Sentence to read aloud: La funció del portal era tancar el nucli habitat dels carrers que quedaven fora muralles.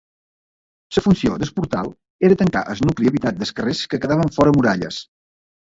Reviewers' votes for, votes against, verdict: 0, 2, rejected